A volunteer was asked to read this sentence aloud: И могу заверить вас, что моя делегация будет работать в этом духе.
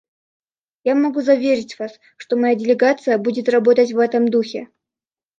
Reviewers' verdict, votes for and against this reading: rejected, 0, 2